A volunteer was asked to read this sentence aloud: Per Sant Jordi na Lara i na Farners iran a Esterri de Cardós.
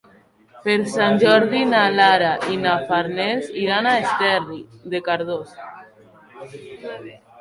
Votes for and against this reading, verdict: 2, 3, rejected